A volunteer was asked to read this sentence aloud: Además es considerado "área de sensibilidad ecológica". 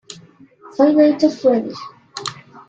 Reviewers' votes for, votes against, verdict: 0, 2, rejected